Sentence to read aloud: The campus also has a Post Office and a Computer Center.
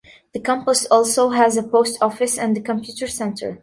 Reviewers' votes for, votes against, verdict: 2, 0, accepted